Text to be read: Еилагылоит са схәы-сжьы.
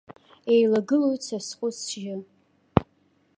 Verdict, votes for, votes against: accepted, 2, 0